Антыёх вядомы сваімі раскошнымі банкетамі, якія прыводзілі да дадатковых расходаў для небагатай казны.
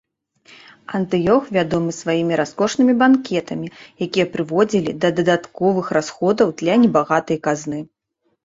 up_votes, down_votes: 3, 0